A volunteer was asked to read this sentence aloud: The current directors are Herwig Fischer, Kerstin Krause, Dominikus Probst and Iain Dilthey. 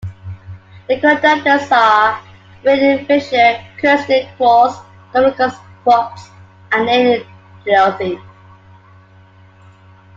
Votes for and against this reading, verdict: 0, 2, rejected